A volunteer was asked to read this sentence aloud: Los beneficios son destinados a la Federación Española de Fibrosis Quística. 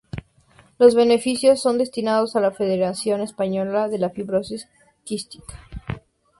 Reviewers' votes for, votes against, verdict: 0, 2, rejected